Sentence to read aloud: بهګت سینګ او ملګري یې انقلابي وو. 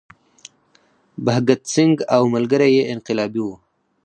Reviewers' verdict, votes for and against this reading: rejected, 2, 4